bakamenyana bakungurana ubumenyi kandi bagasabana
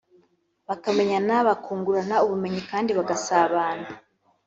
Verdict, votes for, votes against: accepted, 4, 0